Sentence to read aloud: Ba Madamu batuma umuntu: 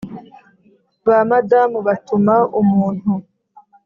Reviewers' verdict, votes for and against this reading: accepted, 3, 0